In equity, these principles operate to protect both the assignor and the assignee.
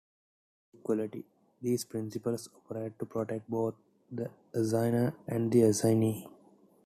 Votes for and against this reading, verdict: 2, 1, accepted